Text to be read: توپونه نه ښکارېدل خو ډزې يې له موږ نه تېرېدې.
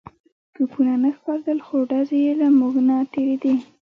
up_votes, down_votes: 1, 2